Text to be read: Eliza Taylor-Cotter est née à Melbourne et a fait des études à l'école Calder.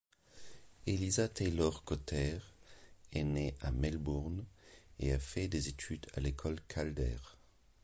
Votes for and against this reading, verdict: 2, 1, accepted